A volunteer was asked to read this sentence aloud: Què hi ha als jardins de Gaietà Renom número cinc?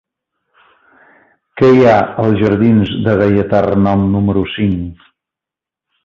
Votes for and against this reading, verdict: 3, 0, accepted